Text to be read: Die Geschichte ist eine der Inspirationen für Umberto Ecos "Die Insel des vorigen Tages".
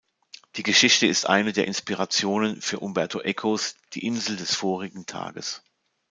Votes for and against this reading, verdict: 2, 0, accepted